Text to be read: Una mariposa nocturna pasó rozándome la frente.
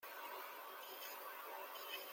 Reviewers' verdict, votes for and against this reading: rejected, 0, 2